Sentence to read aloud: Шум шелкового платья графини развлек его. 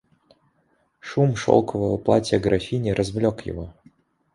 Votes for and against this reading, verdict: 2, 0, accepted